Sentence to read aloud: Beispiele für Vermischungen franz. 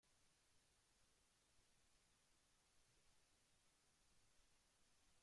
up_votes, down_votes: 0, 2